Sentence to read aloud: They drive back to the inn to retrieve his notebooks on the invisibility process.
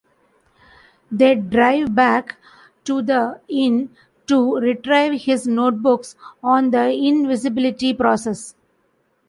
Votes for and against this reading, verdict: 1, 2, rejected